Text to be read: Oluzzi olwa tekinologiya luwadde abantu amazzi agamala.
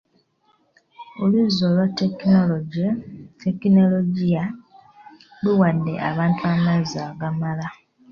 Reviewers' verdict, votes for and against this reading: rejected, 1, 2